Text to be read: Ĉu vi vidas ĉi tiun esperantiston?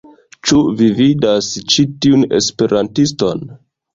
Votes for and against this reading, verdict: 2, 0, accepted